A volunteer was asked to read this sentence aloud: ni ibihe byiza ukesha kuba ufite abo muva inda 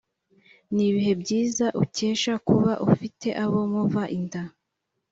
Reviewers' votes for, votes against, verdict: 3, 0, accepted